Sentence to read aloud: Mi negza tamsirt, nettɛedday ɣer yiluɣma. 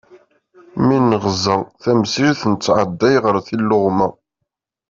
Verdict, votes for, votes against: accepted, 2, 1